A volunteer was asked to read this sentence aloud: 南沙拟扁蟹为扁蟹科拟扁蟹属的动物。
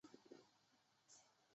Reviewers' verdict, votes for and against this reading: rejected, 0, 2